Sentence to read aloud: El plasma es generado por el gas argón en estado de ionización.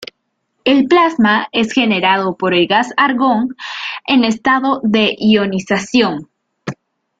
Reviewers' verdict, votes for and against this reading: accepted, 2, 0